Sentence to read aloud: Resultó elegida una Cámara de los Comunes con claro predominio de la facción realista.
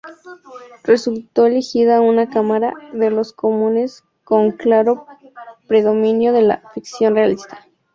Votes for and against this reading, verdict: 0, 2, rejected